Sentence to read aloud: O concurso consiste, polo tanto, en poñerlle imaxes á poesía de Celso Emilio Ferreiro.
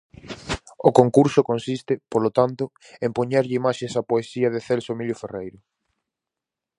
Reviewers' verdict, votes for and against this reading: accepted, 4, 0